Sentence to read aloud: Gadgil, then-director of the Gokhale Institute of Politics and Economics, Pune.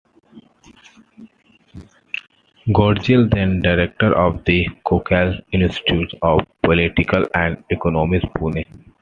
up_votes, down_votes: 2, 1